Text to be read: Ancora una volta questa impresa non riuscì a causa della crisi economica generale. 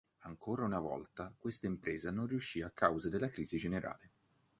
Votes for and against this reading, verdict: 1, 2, rejected